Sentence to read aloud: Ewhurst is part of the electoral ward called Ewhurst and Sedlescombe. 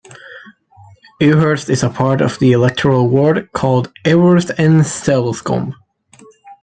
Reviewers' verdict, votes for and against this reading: rejected, 1, 2